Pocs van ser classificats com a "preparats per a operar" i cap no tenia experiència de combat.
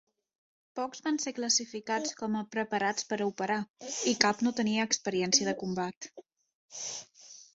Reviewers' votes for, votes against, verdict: 2, 0, accepted